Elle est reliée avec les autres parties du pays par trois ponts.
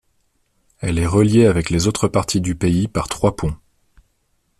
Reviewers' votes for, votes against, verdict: 2, 0, accepted